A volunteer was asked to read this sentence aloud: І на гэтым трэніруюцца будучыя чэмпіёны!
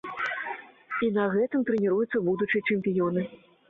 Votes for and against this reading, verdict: 2, 0, accepted